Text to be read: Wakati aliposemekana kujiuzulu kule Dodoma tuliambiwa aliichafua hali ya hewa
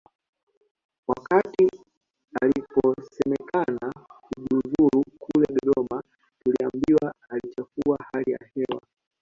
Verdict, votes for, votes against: rejected, 0, 2